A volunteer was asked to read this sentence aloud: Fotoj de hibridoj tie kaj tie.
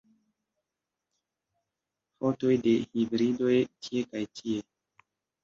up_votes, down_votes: 1, 2